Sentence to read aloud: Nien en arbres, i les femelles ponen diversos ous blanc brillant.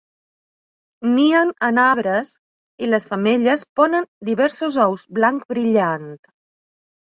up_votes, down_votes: 5, 0